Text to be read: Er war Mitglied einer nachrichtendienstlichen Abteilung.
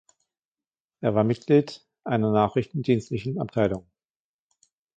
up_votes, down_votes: 1, 2